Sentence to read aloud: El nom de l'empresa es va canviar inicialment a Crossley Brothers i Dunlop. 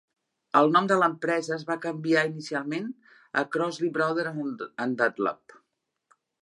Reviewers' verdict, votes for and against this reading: rejected, 0, 4